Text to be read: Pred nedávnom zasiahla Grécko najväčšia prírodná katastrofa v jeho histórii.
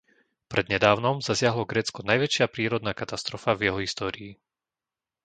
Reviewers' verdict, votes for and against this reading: rejected, 1, 2